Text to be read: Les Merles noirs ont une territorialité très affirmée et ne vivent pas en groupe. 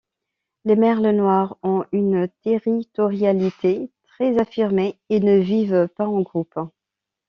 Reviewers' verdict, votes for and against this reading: rejected, 1, 2